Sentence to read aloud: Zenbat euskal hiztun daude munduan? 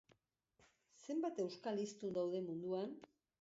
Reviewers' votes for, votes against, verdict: 2, 0, accepted